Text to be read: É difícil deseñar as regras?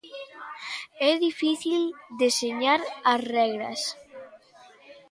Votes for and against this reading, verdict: 2, 1, accepted